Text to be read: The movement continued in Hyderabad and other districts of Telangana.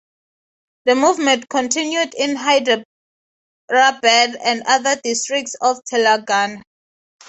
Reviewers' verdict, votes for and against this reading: accepted, 3, 0